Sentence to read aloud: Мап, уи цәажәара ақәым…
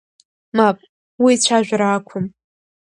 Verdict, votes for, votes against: accepted, 2, 0